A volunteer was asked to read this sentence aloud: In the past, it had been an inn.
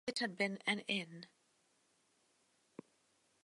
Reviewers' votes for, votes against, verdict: 0, 2, rejected